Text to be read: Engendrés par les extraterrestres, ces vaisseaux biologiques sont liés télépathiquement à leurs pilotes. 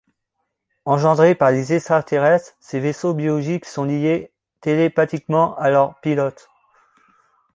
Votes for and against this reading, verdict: 0, 2, rejected